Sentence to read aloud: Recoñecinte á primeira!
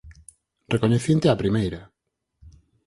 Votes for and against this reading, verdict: 4, 0, accepted